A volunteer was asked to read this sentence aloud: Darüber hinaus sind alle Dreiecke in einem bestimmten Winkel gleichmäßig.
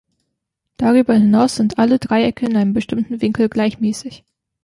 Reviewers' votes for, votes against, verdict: 2, 1, accepted